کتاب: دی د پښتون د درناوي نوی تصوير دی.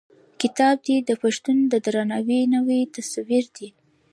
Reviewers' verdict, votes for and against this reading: accepted, 2, 1